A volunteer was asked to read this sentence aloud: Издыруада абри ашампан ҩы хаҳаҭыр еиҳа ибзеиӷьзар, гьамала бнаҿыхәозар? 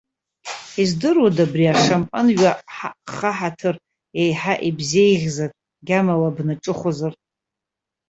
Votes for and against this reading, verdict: 1, 2, rejected